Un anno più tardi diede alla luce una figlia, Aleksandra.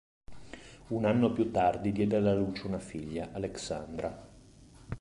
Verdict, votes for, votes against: accepted, 2, 0